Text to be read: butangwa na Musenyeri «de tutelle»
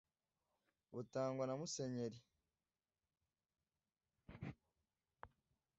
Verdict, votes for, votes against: accepted, 2, 0